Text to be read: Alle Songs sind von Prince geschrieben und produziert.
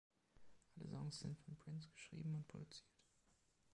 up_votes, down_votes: 0, 2